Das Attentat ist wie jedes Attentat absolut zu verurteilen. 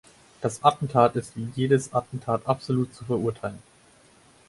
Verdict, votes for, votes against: accepted, 4, 2